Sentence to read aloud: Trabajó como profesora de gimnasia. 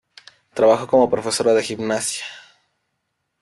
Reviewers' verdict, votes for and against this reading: rejected, 2, 3